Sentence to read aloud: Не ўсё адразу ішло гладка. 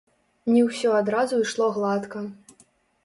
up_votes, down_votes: 1, 2